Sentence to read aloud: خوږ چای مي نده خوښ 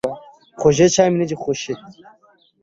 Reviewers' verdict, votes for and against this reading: rejected, 1, 2